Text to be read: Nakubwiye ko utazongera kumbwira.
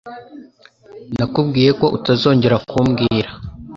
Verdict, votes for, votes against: accepted, 2, 1